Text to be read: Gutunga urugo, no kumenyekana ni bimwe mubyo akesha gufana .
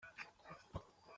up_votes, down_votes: 0, 2